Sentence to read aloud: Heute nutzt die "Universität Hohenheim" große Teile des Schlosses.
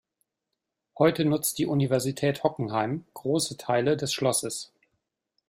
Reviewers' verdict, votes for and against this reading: rejected, 0, 2